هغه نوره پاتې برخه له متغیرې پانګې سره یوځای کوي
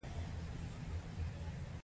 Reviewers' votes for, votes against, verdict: 1, 2, rejected